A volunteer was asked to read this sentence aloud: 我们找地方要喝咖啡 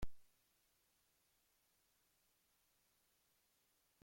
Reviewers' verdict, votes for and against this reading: rejected, 0, 2